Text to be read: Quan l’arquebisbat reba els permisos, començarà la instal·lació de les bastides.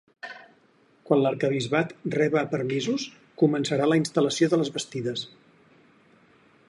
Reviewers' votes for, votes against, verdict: 2, 4, rejected